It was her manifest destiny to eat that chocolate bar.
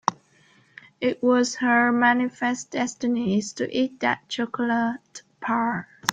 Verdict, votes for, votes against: rejected, 0, 3